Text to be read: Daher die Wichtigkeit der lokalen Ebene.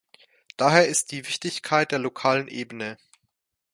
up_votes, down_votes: 1, 2